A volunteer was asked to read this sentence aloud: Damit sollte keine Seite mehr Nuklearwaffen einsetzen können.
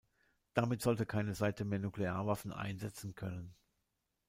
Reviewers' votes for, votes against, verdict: 2, 0, accepted